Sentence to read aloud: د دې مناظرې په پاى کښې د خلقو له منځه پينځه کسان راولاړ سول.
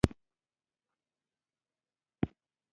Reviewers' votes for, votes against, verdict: 1, 2, rejected